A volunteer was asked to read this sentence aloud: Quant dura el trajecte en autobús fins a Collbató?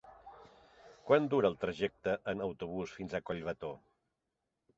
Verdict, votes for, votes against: accepted, 2, 0